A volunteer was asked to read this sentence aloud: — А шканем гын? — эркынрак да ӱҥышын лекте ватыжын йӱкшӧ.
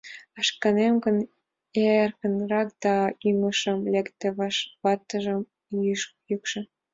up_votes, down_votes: 1, 2